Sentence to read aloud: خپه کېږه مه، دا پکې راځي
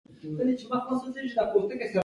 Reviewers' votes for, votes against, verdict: 0, 2, rejected